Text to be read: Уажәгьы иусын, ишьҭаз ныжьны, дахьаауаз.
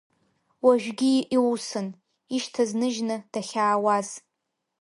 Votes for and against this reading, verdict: 2, 0, accepted